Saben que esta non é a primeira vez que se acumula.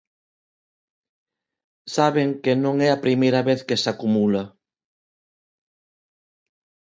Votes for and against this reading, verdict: 0, 2, rejected